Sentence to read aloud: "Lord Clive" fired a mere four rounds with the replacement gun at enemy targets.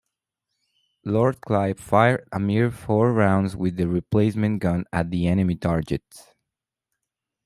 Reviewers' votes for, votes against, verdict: 2, 1, accepted